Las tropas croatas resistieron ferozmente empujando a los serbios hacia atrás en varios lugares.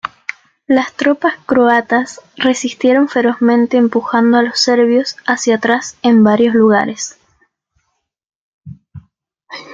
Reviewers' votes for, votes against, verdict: 2, 0, accepted